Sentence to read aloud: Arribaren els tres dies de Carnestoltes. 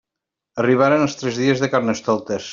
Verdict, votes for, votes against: accepted, 2, 0